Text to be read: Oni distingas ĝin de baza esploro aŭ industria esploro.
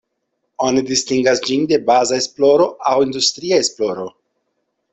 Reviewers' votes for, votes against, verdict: 2, 0, accepted